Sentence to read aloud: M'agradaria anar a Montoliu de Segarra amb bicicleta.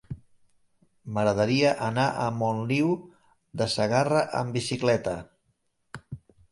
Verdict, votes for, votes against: rejected, 2, 3